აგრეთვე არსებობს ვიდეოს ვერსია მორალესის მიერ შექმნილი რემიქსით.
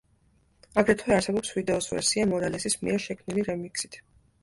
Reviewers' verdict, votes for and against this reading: accepted, 2, 0